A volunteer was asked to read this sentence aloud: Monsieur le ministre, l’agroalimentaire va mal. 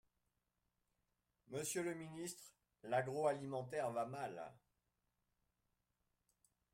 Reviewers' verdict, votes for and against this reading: accepted, 2, 0